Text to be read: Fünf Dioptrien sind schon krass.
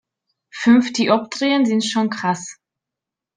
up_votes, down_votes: 3, 0